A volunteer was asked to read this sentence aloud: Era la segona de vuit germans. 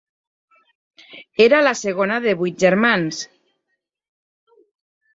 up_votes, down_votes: 4, 0